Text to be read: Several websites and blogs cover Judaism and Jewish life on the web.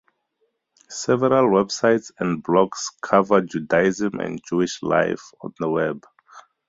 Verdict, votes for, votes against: rejected, 2, 2